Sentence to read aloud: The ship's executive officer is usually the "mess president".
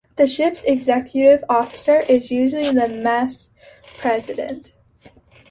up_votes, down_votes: 3, 0